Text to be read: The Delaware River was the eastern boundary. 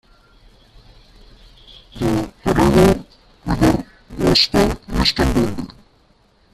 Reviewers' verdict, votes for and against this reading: rejected, 0, 2